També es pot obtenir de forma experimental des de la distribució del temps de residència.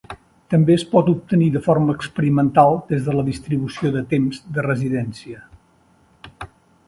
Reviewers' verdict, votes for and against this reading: accepted, 2, 0